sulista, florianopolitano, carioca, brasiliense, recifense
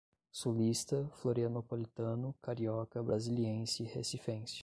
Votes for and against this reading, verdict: 10, 0, accepted